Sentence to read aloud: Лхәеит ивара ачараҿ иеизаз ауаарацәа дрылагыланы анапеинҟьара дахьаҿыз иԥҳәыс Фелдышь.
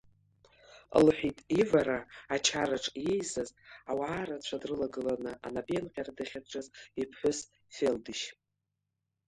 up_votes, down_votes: 2, 0